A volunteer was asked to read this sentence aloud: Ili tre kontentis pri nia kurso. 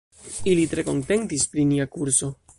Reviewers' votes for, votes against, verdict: 2, 0, accepted